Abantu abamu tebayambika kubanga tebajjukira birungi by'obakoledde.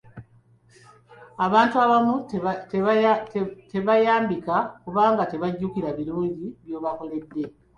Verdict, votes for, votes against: rejected, 1, 2